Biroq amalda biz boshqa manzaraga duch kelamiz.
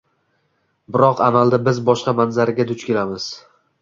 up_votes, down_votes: 2, 0